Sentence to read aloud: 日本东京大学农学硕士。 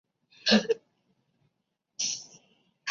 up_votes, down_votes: 1, 2